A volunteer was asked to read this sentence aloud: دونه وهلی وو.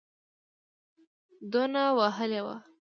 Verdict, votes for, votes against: rejected, 0, 2